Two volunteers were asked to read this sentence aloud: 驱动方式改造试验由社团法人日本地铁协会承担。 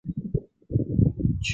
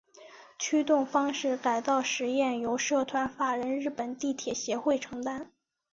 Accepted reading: second